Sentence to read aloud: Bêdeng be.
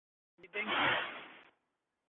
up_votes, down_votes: 1, 2